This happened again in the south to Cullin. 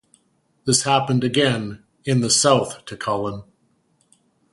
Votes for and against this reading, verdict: 2, 0, accepted